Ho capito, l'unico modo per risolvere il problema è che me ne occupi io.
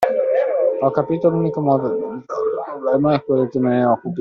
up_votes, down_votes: 0, 2